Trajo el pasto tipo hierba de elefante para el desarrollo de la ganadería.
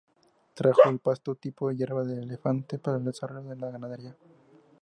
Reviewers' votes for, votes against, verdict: 2, 0, accepted